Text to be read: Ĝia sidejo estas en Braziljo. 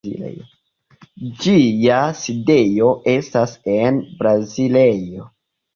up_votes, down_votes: 2, 0